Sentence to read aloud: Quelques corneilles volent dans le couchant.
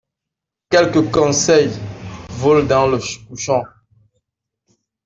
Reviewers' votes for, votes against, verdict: 0, 2, rejected